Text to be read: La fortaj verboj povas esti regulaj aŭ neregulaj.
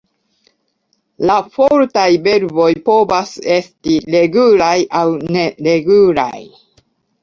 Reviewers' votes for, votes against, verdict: 0, 2, rejected